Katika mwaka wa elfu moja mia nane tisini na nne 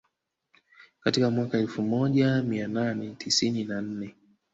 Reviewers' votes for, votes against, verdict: 1, 2, rejected